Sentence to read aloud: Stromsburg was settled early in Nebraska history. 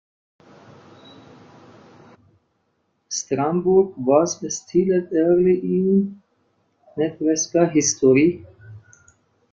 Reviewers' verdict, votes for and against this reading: rejected, 0, 2